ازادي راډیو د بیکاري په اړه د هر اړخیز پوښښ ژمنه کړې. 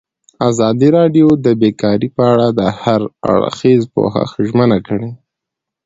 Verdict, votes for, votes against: accepted, 2, 0